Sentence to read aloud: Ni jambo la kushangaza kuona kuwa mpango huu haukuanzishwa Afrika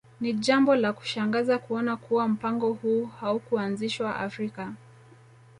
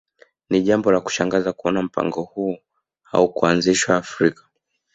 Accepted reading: second